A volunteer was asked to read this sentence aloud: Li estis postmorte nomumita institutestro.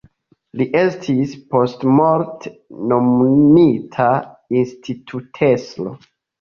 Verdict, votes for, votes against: accepted, 2, 0